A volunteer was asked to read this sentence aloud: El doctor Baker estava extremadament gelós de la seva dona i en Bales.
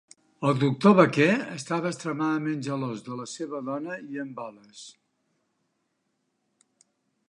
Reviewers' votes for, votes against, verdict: 1, 2, rejected